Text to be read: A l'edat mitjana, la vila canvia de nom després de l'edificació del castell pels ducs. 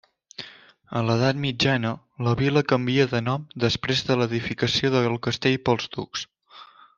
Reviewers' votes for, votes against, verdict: 3, 1, accepted